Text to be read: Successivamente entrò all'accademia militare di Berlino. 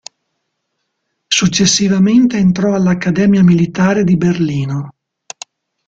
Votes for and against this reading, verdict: 2, 1, accepted